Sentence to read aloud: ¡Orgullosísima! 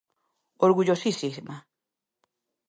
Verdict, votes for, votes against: rejected, 0, 2